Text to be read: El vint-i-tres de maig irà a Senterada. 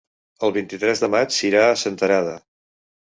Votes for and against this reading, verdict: 1, 2, rejected